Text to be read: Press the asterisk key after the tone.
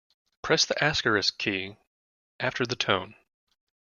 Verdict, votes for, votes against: rejected, 0, 2